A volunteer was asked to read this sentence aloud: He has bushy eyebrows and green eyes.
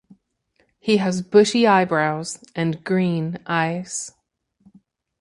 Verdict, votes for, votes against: accepted, 2, 0